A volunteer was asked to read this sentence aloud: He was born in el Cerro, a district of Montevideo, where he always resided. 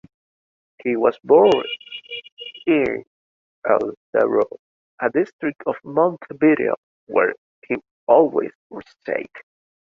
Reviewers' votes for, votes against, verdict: 0, 2, rejected